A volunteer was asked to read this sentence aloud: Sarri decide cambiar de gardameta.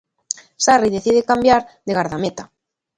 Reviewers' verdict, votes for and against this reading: accepted, 2, 0